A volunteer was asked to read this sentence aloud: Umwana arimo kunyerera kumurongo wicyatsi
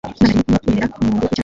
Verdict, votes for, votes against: rejected, 0, 2